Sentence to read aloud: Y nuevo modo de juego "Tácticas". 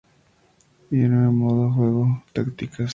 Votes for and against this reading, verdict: 2, 2, rejected